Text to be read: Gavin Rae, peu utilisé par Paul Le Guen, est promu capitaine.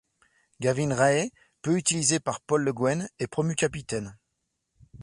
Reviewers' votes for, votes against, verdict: 2, 0, accepted